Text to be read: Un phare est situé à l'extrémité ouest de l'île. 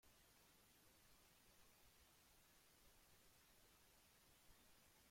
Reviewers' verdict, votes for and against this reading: rejected, 0, 2